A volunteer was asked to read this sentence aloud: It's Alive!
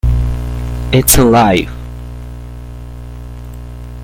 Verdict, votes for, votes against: rejected, 0, 2